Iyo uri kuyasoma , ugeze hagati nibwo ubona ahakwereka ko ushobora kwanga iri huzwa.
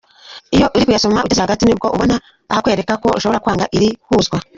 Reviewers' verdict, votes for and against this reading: rejected, 1, 2